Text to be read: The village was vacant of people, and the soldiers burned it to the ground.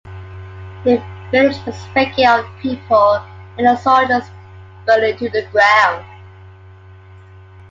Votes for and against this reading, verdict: 1, 2, rejected